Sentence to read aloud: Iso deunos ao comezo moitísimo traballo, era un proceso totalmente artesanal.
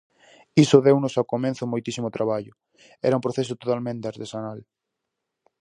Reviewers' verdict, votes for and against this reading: rejected, 2, 2